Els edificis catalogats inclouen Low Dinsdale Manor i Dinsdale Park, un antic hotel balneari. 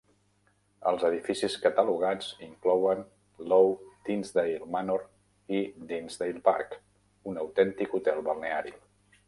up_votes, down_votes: 0, 2